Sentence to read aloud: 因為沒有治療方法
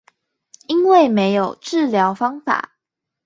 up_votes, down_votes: 4, 0